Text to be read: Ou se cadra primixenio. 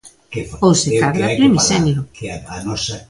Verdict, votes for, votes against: rejected, 0, 2